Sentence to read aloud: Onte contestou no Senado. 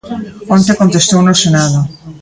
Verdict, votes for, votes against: rejected, 0, 2